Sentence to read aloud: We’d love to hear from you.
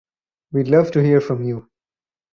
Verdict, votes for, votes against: accepted, 4, 0